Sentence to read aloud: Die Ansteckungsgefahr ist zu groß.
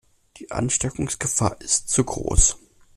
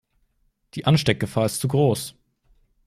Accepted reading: first